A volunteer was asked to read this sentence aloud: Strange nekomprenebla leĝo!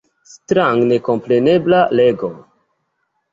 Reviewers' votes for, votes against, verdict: 2, 0, accepted